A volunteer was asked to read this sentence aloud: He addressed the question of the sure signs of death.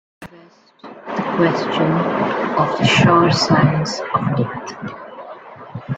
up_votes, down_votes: 0, 2